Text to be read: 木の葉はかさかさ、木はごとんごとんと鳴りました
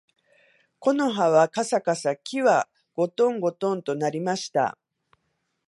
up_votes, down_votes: 2, 0